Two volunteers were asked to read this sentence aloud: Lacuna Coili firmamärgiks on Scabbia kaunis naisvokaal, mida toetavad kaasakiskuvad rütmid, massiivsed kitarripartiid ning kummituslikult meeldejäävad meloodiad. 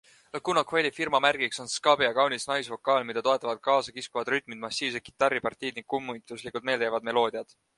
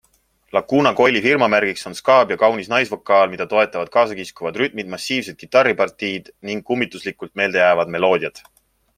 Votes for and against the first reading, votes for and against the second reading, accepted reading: 1, 2, 3, 0, second